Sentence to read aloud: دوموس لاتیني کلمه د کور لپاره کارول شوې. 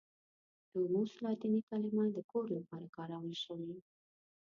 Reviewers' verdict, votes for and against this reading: accepted, 2, 0